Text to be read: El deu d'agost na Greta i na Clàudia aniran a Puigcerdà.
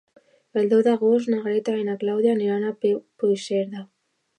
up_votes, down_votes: 1, 2